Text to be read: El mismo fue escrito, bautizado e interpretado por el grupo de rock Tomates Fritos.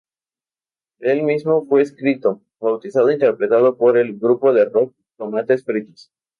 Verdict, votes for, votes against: rejected, 0, 2